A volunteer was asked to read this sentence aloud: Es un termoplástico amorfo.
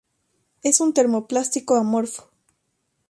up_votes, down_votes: 6, 0